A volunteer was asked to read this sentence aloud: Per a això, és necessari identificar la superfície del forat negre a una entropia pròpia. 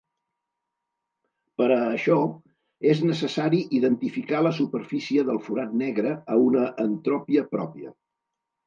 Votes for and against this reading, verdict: 1, 2, rejected